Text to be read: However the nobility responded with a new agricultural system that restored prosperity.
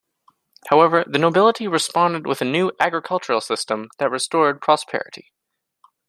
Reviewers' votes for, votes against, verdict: 2, 0, accepted